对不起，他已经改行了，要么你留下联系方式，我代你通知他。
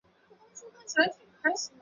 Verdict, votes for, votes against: rejected, 0, 2